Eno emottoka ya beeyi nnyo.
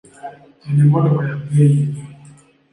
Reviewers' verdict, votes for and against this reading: rejected, 1, 2